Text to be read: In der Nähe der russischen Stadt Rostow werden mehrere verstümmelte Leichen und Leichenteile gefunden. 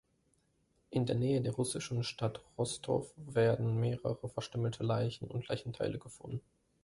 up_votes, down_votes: 2, 0